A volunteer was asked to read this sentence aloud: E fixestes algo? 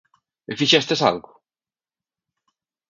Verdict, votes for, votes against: accepted, 2, 0